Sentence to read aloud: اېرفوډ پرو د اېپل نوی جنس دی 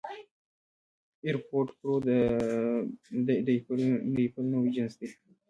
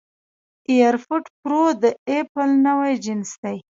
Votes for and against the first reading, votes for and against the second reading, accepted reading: 0, 2, 2, 0, second